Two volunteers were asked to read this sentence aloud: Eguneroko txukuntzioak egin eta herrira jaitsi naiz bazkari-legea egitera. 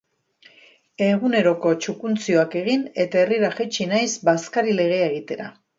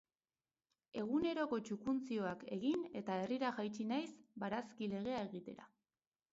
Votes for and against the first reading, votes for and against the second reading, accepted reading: 2, 0, 0, 4, first